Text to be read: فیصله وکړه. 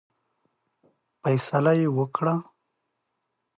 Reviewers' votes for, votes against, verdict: 0, 3, rejected